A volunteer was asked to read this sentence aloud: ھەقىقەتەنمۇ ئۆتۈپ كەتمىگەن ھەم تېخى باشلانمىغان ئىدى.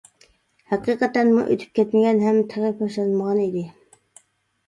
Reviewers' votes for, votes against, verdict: 0, 2, rejected